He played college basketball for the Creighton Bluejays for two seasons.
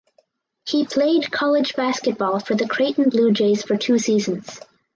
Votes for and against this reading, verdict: 4, 0, accepted